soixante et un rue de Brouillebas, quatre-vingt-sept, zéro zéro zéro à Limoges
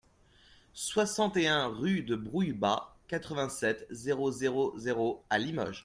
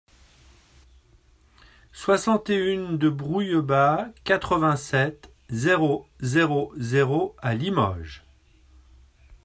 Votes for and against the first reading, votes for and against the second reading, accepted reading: 2, 0, 0, 2, first